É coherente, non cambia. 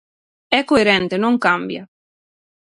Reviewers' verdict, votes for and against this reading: accepted, 6, 0